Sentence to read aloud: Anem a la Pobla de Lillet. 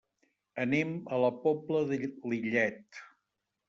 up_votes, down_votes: 1, 2